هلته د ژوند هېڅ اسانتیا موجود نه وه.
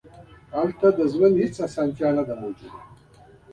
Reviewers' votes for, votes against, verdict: 1, 2, rejected